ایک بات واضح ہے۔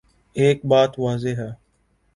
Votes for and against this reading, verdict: 3, 0, accepted